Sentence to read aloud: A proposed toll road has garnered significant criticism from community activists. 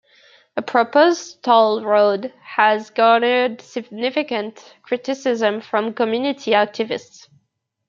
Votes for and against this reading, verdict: 2, 1, accepted